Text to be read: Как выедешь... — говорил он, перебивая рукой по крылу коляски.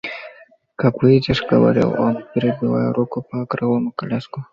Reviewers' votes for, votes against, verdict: 0, 2, rejected